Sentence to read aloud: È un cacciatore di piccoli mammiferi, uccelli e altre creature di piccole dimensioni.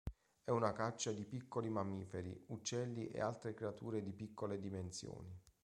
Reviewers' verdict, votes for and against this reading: rejected, 0, 2